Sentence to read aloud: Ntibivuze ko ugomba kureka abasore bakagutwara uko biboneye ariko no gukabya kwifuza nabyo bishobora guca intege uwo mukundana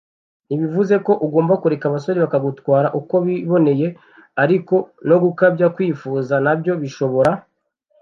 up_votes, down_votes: 0, 2